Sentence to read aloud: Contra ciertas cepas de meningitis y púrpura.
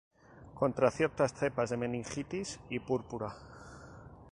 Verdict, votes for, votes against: rejected, 0, 2